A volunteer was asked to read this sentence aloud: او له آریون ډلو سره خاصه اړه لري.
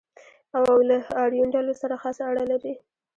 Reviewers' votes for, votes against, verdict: 2, 1, accepted